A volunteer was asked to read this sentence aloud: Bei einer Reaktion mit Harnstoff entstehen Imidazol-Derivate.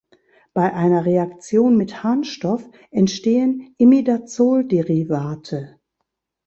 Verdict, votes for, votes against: accepted, 2, 0